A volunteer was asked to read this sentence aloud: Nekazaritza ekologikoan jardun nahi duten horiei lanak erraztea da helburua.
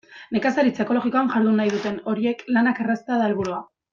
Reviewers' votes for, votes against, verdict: 0, 2, rejected